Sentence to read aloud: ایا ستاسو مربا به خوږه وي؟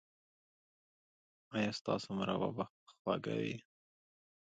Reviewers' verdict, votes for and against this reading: accepted, 2, 0